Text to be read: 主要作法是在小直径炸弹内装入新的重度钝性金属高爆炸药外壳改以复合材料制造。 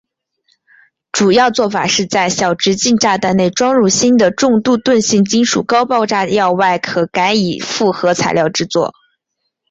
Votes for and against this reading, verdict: 3, 0, accepted